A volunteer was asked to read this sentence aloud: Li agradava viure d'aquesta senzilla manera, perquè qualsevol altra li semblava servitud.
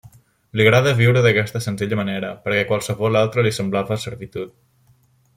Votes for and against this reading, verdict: 1, 2, rejected